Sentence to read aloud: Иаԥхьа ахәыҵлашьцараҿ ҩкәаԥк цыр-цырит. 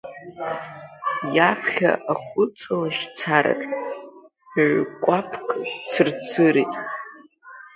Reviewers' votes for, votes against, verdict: 0, 2, rejected